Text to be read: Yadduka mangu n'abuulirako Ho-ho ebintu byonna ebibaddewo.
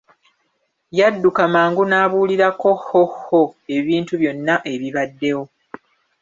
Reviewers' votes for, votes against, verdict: 0, 2, rejected